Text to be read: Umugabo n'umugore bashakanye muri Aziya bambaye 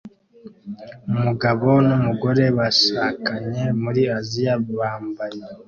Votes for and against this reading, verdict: 2, 0, accepted